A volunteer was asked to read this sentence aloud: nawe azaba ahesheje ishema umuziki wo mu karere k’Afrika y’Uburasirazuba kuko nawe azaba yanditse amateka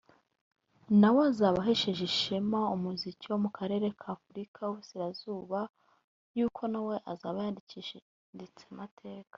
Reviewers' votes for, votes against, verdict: 1, 2, rejected